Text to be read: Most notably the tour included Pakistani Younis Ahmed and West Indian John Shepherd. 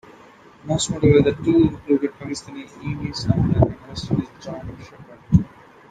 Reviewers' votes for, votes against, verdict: 1, 2, rejected